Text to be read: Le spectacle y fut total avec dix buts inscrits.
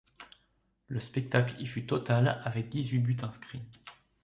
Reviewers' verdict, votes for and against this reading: rejected, 0, 2